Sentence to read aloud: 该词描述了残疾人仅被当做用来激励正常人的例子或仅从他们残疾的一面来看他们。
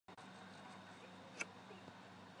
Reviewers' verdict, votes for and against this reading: rejected, 1, 3